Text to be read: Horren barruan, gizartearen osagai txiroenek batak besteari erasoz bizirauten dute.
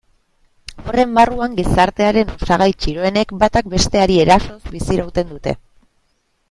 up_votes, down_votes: 1, 2